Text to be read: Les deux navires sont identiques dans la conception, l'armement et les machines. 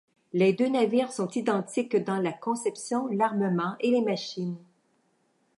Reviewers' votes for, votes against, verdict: 2, 0, accepted